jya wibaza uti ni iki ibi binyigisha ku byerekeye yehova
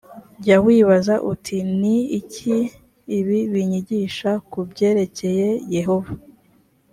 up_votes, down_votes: 2, 0